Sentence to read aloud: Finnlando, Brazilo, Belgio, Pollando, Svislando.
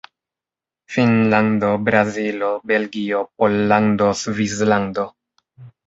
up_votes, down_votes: 2, 0